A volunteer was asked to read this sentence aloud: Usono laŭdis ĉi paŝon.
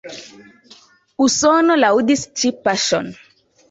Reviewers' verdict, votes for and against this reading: accepted, 4, 0